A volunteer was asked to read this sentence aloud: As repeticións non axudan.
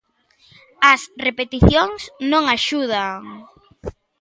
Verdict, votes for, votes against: accepted, 2, 0